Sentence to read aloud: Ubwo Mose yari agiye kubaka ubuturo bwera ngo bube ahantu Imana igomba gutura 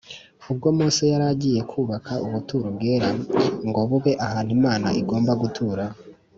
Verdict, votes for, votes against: accepted, 2, 0